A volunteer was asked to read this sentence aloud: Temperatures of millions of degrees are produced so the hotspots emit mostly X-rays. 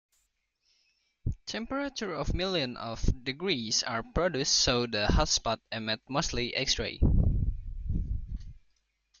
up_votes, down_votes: 2, 1